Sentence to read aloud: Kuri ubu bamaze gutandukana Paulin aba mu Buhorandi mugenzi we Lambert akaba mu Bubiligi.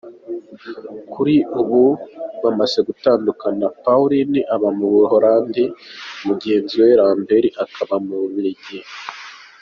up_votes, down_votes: 2, 0